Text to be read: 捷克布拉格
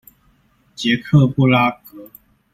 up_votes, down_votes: 2, 0